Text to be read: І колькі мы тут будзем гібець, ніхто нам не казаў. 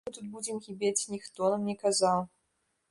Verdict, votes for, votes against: rejected, 1, 2